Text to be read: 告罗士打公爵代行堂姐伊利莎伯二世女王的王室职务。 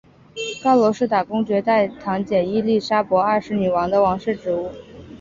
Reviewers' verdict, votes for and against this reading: rejected, 1, 2